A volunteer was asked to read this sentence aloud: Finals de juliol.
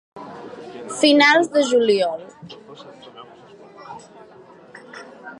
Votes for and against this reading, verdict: 2, 0, accepted